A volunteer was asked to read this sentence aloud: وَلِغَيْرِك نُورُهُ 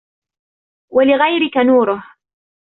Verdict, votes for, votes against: accepted, 2, 0